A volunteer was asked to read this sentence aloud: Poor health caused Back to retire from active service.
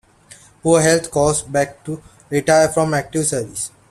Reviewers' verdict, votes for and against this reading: accepted, 2, 0